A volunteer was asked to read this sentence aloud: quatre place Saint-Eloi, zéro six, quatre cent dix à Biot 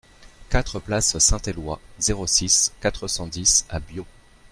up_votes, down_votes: 2, 0